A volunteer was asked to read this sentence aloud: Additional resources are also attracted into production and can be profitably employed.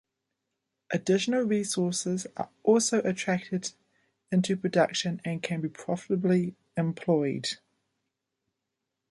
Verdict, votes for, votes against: accepted, 2, 0